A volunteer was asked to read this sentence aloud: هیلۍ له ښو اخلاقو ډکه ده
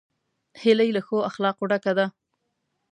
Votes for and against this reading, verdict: 2, 0, accepted